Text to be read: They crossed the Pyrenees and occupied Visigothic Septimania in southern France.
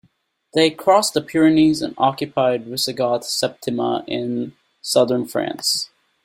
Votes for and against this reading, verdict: 0, 2, rejected